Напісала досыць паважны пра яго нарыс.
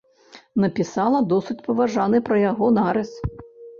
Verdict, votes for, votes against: rejected, 1, 2